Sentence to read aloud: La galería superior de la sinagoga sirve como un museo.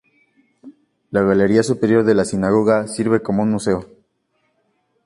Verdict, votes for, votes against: accepted, 2, 0